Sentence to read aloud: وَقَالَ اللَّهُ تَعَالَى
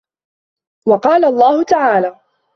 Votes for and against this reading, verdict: 2, 0, accepted